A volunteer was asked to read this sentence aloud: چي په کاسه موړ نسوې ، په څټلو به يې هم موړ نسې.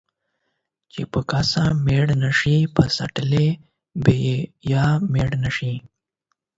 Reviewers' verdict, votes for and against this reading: rejected, 0, 8